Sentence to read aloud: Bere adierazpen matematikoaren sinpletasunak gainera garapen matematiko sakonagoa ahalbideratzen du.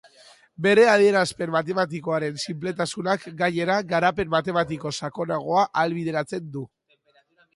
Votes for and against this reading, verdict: 3, 1, accepted